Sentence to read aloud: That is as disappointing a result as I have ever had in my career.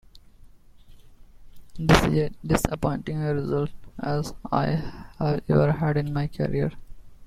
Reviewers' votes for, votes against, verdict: 0, 2, rejected